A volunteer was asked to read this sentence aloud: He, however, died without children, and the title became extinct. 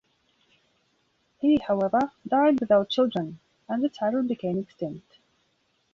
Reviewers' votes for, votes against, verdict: 0, 2, rejected